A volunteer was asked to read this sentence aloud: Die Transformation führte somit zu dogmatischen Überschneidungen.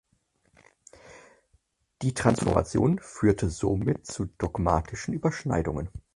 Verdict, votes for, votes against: accepted, 4, 2